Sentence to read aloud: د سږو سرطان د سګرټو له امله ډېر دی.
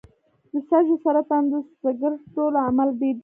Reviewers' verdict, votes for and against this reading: rejected, 0, 2